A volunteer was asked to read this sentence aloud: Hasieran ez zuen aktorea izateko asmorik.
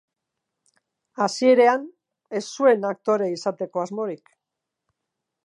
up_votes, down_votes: 0, 4